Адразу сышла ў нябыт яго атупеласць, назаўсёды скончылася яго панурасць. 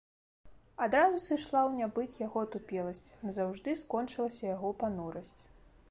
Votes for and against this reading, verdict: 1, 3, rejected